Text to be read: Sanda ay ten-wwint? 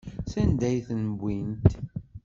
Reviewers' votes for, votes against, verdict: 1, 2, rejected